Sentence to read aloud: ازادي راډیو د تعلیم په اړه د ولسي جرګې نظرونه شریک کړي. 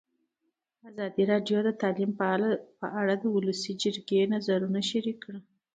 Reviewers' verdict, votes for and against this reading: accepted, 2, 1